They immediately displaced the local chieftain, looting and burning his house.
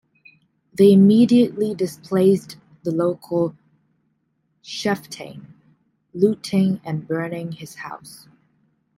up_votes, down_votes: 0, 2